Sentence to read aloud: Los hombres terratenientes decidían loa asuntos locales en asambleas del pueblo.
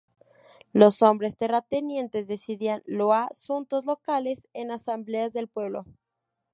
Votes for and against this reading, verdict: 2, 2, rejected